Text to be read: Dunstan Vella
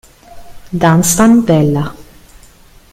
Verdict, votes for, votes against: rejected, 1, 2